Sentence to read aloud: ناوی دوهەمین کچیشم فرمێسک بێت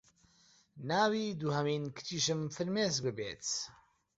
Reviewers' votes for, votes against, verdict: 1, 2, rejected